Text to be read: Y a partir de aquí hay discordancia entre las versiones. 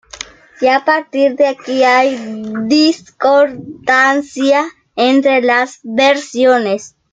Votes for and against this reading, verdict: 1, 2, rejected